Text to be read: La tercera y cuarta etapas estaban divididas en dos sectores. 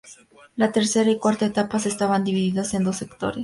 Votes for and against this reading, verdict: 2, 0, accepted